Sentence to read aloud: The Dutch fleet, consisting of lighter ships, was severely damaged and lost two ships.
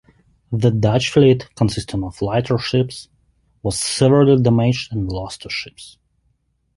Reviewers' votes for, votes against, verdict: 2, 0, accepted